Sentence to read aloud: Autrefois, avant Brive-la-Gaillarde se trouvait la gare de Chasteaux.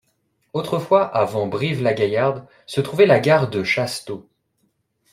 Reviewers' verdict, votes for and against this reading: accepted, 2, 0